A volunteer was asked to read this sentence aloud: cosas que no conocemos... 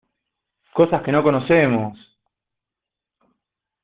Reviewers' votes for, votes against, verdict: 2, 0, accepted